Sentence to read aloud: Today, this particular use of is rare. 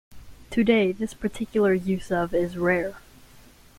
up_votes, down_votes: 2, 0